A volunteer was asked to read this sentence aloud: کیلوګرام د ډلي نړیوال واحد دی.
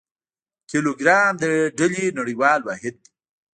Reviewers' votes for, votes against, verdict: 2, 0, accepted